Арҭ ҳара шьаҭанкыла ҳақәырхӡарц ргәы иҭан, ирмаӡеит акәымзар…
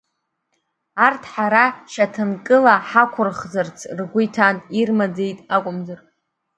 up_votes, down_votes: 1, 2